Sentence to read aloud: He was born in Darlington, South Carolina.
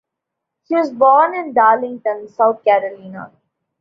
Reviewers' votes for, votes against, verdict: 2, 0, accepted